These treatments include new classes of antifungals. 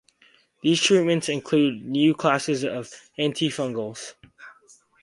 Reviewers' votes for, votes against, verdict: 4, 0, accepted